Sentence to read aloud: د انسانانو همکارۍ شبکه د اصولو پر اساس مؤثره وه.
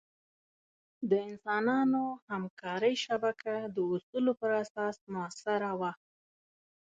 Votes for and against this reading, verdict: 2, 0, accepted